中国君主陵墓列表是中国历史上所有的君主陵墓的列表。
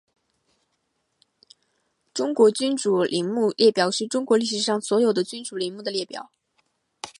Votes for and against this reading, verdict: 0, 2, rejected